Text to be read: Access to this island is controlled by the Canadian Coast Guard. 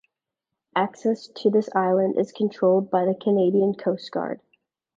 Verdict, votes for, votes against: accepted, 2, 0